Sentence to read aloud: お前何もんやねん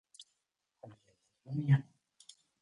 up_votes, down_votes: 0, 2